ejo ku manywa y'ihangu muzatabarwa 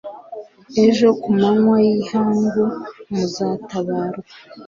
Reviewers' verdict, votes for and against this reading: accepted, 2, 0